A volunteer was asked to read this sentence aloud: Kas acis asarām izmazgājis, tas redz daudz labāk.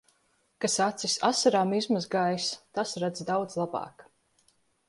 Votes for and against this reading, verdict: 2, 0, accepted